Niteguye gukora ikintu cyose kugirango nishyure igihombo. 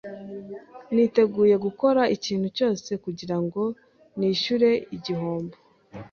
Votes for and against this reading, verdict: 3, 0, accepted